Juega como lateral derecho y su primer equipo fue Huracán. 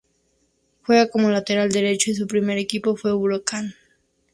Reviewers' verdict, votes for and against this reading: accepted, 2, 0